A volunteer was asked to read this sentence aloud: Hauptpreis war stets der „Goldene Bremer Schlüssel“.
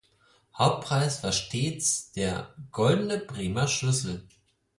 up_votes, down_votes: 4, 0